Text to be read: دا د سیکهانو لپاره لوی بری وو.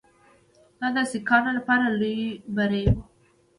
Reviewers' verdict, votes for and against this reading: accepted, 2, 0